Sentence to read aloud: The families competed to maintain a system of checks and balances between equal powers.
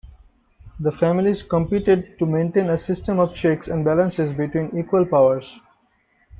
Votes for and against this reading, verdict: 1, 2, rejected